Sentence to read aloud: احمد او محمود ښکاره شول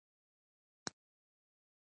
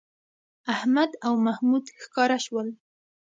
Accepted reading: second